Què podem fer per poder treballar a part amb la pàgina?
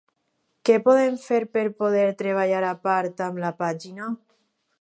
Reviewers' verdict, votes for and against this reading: accepted, 4, 0